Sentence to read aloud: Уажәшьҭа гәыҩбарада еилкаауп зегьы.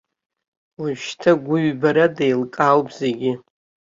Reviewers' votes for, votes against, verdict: 2, 0, accepted